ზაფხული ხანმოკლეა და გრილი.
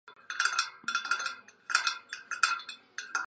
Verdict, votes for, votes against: rejected, 0, 2